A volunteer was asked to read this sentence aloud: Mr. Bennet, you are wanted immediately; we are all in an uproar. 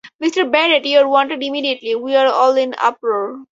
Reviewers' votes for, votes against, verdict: 2, 6, rejected